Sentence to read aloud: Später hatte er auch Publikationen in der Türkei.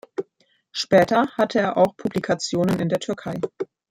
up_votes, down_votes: 2, 0